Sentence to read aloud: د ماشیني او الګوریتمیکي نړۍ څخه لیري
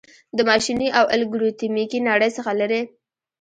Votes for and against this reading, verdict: 2, 0, accepted